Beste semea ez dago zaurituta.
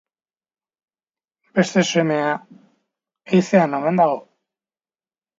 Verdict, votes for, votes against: rejected, 0, 2